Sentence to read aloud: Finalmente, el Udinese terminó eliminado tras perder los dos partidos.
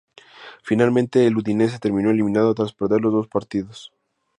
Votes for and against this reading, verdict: 2, 0, accepted